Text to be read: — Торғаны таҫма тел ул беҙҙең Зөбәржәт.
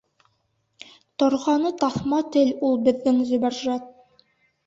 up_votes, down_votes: 2, 0